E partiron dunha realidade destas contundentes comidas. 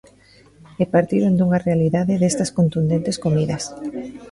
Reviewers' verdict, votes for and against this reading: accepted, 2, 0